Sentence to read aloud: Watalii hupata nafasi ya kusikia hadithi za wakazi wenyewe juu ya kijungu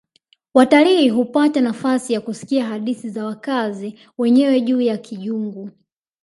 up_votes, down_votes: 4, 0